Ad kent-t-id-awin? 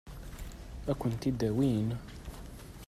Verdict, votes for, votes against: accepted, 2, 0